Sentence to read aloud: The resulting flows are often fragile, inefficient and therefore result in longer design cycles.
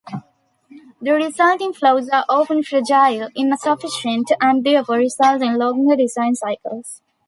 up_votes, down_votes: 0, 2